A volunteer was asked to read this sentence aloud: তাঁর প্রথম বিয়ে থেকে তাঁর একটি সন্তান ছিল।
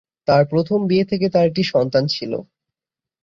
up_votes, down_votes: 17, 4